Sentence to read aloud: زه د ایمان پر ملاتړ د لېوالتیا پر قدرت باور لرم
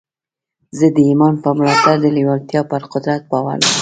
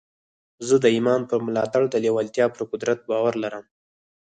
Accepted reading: second